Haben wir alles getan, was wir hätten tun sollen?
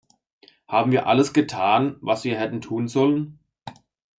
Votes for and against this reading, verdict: 2, 1, accepted